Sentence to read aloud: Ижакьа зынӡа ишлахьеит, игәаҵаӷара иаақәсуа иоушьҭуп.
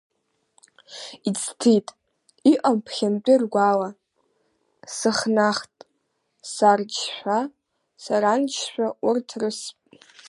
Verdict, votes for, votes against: rejected, 0, 3